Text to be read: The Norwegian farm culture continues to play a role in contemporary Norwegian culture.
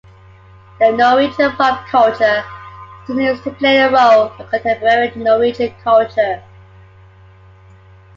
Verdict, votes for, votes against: rejected, 1, 2